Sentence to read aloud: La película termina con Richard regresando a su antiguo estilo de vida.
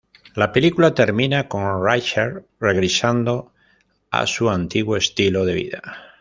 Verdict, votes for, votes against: rejected, 0, 2